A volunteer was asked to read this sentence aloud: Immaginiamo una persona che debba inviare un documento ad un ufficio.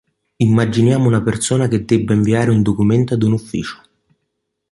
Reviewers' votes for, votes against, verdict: 2, 0, accepted